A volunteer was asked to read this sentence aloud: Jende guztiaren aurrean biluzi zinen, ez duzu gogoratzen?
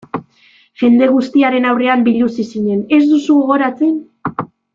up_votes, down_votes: 2, 0